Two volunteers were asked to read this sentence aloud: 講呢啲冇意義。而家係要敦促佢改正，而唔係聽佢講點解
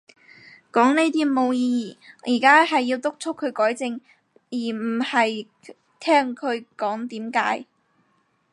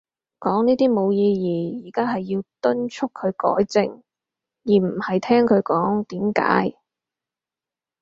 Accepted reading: second